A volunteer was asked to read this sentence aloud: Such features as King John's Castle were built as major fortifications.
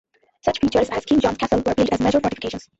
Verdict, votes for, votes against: rejected, 0, 2